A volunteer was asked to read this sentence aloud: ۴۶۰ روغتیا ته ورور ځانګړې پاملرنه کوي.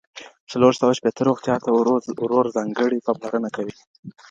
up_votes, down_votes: 0, 2